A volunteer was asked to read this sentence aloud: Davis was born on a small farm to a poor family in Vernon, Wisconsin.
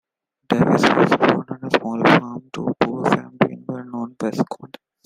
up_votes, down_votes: 0, 2